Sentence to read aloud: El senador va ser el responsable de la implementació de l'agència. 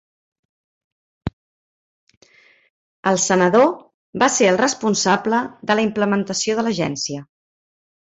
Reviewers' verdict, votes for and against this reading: accepted, 3, 0